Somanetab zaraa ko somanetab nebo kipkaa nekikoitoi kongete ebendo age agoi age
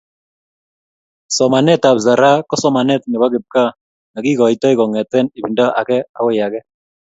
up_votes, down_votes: 2, 0